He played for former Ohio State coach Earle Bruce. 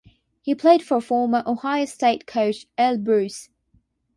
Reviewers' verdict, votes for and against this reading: accepted, 6, 0